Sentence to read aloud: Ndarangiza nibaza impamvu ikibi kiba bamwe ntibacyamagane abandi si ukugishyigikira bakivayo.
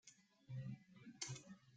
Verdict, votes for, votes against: rejected, 0, 2